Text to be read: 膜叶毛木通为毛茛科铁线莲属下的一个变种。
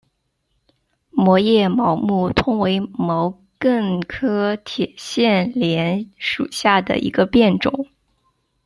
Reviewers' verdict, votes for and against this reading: rejected, 1, 2